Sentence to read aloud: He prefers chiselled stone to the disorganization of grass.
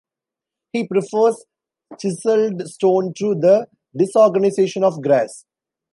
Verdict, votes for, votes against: accepted, 2, 0